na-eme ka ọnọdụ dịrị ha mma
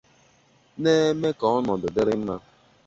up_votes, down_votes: 0, 2